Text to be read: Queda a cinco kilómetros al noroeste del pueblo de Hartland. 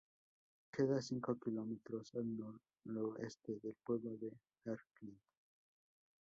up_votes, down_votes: 0, 2